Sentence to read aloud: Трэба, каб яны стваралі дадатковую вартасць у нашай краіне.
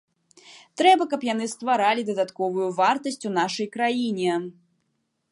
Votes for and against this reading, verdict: 2, 0, accepted